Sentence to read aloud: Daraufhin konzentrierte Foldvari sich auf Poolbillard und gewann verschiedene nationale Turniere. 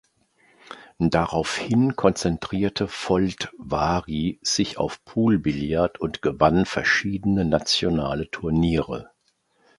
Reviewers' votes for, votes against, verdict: 2, 0, accepted